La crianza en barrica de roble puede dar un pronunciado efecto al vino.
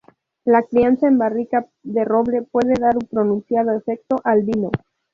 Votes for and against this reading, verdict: 2, 0, accepted